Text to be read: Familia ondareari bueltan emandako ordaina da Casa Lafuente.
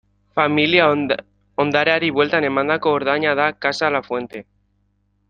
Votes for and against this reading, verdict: 1, 2, rejected